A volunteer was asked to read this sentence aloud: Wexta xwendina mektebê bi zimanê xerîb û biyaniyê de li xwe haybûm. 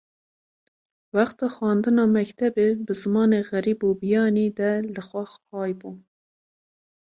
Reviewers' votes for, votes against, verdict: 2, 3, rejected